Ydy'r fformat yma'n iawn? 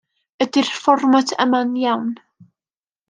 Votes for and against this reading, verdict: 2, 0, accepted